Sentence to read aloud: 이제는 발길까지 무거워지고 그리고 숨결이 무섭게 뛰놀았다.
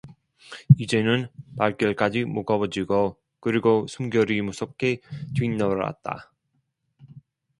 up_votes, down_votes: 1, 2